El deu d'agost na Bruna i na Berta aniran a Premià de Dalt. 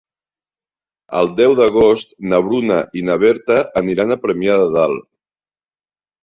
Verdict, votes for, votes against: rejected, 1, 2